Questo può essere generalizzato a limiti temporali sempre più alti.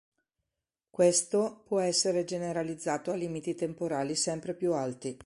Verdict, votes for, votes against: accepted, 3, 0